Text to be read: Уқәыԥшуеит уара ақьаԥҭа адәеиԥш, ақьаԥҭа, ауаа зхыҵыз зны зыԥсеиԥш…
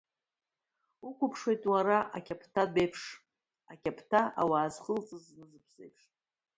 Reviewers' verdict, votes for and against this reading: rejected, 0, 2